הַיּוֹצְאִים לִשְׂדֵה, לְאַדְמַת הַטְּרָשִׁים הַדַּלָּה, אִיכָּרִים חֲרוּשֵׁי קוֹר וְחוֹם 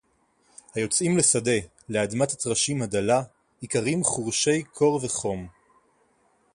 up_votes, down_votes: 2, 4